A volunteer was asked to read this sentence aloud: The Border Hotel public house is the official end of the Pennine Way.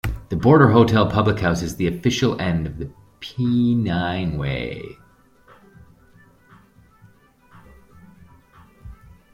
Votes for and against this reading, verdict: 0, 2, rejected